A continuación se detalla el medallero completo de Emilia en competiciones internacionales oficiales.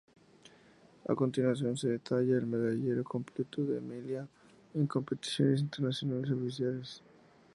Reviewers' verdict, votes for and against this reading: rejected, 2, 2